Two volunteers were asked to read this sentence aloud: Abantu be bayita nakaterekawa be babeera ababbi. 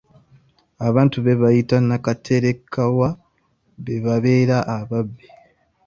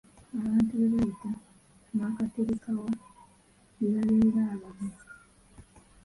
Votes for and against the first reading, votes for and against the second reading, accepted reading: 2, 0, 1, 3, first